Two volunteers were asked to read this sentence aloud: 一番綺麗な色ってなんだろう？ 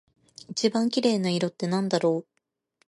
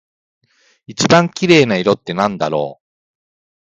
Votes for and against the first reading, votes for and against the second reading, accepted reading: 2, 0, 0, 2, first